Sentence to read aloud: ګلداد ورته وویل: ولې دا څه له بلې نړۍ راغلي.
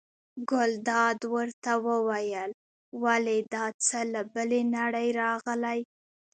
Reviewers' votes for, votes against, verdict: 2, 0, accepted